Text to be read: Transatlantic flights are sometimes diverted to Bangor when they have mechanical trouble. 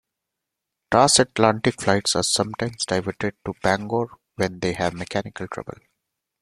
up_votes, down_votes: 2, 0